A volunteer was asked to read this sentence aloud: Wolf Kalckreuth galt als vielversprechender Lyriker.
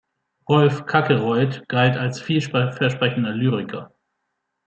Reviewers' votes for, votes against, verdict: 0, 2, rejected